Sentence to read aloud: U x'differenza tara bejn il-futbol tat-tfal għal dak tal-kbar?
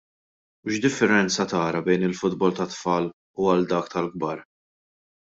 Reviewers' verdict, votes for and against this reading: rejected, 0, 2